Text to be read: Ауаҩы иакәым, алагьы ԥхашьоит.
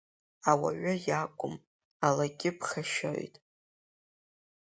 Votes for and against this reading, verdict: 2, 0, accepted